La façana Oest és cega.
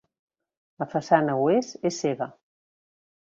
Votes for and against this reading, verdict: 2, 0, accepted